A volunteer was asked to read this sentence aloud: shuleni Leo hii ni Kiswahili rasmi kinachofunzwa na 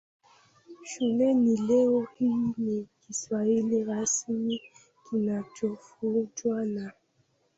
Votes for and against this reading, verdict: 0, 3, rejected